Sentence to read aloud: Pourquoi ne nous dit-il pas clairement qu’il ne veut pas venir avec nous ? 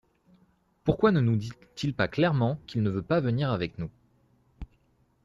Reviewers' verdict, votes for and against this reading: rejected, 1, 2